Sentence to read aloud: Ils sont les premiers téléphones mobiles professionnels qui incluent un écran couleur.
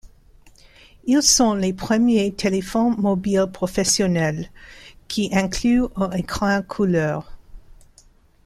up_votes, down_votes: 1, 2